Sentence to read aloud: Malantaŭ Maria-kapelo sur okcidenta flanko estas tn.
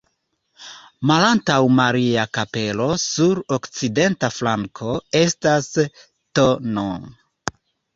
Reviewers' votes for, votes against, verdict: 2, 0, accepted